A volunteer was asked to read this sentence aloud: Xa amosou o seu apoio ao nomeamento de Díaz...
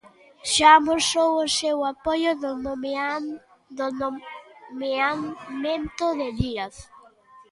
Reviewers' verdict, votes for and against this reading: rejected, 0, 2